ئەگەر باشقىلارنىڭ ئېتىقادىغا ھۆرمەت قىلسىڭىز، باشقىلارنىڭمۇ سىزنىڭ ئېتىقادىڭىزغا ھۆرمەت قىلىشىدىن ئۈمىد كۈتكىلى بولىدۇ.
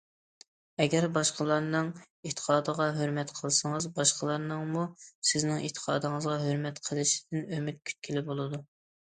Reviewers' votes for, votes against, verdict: 2, 0, accepted